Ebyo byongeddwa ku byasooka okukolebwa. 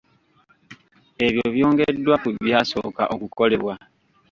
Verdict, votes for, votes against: rejected, 1, 2